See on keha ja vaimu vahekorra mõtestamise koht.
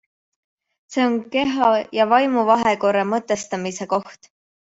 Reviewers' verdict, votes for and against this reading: accepted, 2, 0